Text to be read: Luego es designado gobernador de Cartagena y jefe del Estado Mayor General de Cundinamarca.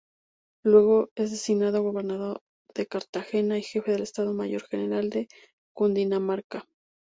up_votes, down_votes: 2, 2